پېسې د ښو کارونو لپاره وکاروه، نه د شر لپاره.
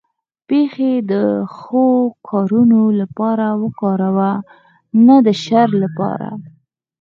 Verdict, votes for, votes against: rejected, 2, 4